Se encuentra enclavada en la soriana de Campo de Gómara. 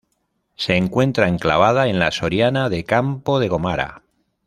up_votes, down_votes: 0, 2